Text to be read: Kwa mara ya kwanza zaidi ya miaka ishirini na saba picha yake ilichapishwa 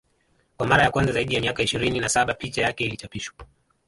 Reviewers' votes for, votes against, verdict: 1, 2, rejected